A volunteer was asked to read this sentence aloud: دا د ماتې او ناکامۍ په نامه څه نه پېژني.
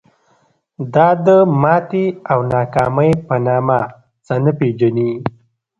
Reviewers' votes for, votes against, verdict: 0, 2, rejected